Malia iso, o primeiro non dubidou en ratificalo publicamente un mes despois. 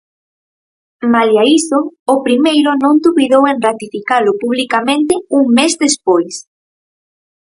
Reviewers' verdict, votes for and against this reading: accepted, 4, 0